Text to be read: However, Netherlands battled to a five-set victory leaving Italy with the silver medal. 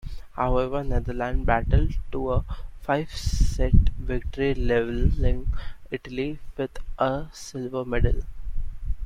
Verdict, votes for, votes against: rejected, 0, 2